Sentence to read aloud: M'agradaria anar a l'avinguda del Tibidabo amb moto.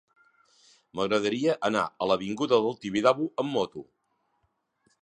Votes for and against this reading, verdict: 2, 0, accepted